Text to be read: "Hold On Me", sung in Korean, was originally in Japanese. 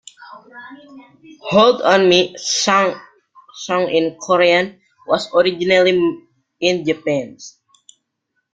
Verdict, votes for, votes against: rejected, 0, 2